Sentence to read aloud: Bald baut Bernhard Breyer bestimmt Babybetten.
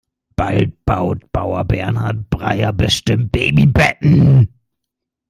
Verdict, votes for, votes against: rejected, 0, 2